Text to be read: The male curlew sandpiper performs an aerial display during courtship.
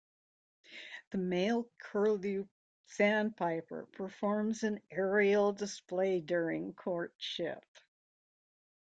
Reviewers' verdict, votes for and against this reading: rejected, 1, 2